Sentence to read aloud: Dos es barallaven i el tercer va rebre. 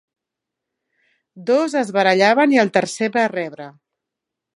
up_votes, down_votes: 2, 0